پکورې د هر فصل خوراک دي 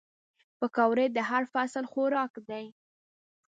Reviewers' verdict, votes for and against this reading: rejected, 1, 2